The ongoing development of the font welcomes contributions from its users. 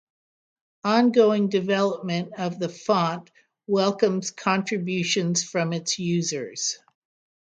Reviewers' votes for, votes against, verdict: 3, 3, rejected